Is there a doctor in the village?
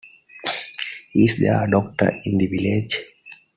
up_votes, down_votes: 2, 0